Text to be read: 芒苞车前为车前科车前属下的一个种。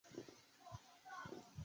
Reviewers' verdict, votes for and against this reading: rejected, 0, 2